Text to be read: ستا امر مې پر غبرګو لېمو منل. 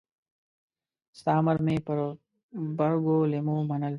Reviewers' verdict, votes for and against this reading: accepted, 2, 0